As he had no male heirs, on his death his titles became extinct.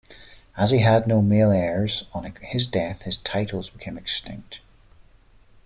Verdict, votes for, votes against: accepted, 2, 0